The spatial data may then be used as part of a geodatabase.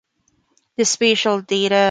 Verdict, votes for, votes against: rejected, 0, 3